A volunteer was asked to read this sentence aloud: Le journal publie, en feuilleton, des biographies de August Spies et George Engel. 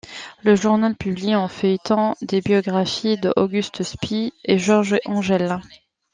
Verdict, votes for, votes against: rejected, 1, 2